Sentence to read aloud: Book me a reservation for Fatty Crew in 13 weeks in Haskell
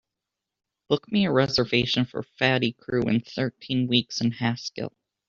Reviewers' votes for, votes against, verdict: 0, 2, rejected